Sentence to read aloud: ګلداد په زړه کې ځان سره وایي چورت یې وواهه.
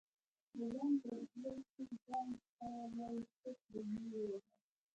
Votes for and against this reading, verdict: 1, 2, rejected